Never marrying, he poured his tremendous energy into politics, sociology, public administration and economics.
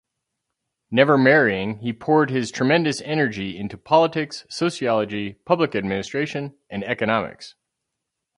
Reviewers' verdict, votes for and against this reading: accepted, 4, 0